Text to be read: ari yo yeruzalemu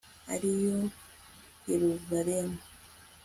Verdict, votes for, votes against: accepted, 2, 0